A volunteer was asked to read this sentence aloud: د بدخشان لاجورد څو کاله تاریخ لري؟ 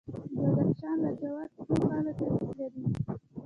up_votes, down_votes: 1, 2